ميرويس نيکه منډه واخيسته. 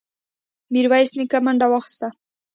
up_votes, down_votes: 2, 0